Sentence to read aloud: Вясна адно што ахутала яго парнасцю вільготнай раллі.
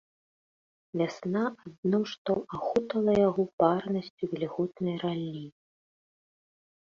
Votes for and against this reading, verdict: 2, 0, accepted